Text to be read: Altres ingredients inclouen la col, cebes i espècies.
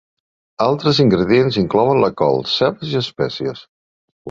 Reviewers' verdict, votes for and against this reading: rejected, 1, 2